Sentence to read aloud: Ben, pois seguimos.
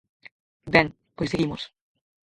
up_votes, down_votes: 0, 4